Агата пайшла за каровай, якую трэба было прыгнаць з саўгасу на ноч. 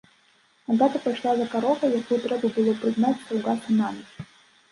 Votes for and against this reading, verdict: 1, 3, rejected